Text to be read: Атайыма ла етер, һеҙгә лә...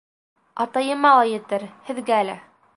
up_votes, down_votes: 2, 0